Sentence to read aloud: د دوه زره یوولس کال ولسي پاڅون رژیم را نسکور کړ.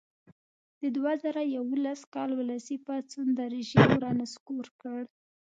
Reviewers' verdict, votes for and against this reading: accepted, 2, 1